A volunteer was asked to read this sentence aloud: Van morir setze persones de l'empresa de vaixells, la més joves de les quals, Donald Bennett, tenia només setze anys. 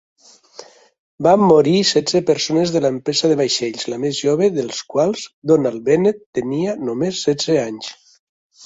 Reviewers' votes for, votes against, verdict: 1, 2, rejected